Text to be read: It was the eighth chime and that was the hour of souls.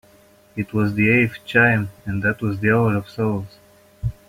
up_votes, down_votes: 2, 1